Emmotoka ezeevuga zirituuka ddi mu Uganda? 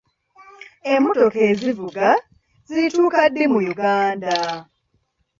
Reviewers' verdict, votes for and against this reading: rejected, 1, 2